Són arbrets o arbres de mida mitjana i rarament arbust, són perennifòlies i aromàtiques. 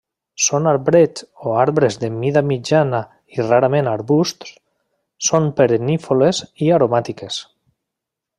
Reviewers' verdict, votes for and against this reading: rejected, 0, 2